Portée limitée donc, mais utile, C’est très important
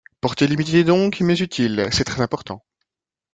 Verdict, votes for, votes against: rejected, 0, 2